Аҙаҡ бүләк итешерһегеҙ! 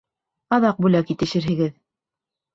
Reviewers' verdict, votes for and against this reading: accepted, 2, 0